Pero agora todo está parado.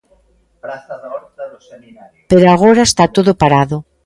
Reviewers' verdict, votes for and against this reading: rejected, 0, 2